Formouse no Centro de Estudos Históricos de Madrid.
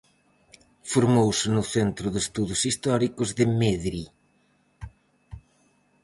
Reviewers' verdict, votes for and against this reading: rejected, 0, 4